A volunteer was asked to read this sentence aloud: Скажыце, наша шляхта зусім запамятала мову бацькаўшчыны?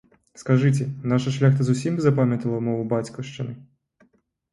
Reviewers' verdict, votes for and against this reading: accepted, 2, 0